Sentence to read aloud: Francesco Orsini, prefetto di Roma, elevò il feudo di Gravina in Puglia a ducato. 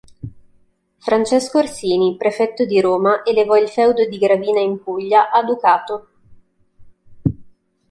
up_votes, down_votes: 2, 0